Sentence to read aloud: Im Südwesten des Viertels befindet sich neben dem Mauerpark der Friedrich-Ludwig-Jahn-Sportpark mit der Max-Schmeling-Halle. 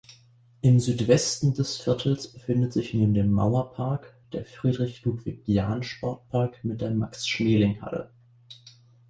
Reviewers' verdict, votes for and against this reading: accepted, 2, 0